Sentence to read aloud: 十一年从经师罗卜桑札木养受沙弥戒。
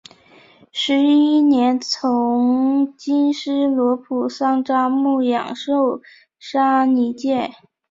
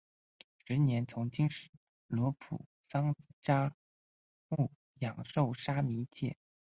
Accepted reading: second